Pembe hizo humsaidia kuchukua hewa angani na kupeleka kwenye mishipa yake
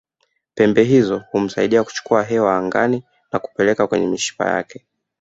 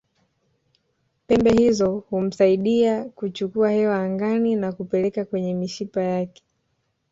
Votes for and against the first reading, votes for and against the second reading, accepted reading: 0, 2, 2, 0, second